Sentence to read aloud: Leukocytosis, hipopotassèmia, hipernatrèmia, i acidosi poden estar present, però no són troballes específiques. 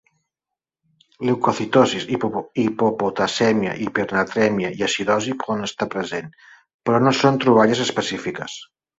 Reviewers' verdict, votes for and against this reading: rejected, 0, 2